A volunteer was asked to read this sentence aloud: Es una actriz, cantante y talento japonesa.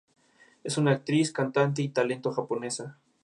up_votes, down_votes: 2, 0